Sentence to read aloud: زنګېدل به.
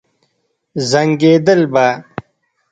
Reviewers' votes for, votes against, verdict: 0, 2, rejected